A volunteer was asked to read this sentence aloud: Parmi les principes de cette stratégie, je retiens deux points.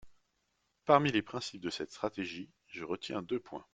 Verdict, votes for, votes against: accepted, 2, 0